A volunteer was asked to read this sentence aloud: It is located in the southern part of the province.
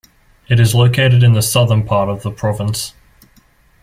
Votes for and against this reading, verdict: 2, 0, accepted